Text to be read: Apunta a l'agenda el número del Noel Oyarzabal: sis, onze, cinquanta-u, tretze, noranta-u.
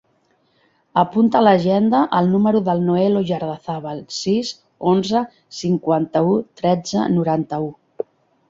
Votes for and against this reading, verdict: 1, 2, rejected